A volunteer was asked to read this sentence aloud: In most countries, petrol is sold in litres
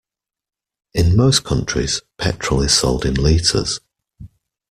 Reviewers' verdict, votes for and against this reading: accepted, 2, 0